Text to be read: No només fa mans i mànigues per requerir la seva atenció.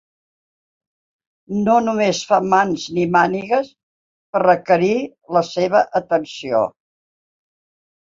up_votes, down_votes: 4, 0